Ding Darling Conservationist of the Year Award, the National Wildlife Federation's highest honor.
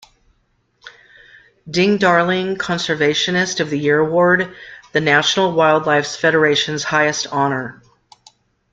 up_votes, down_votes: 2, 1